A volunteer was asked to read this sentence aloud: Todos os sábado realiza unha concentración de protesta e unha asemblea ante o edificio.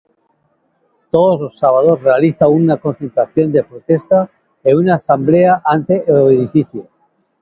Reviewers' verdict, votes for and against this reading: rejected, 0, 2